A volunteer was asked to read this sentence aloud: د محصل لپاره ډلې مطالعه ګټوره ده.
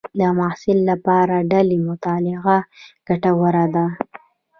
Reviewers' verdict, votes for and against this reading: rejected, 1, 2